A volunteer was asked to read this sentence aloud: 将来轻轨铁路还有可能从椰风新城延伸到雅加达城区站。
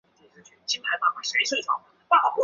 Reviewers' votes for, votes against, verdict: 1, 2, rejected